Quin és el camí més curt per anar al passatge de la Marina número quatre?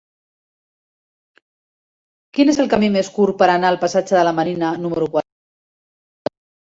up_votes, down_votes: 1, 2